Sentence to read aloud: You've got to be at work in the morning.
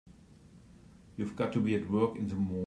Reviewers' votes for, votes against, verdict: 0, 2, rejected